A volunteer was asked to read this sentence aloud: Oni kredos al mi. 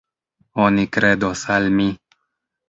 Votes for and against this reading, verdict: 1, 2, rejected